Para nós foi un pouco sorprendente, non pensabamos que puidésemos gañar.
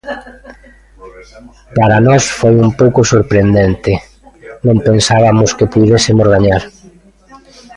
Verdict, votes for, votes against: rejected, 0, 2